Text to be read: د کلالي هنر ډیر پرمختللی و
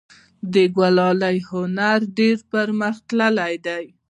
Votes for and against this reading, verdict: 0, 2, rejected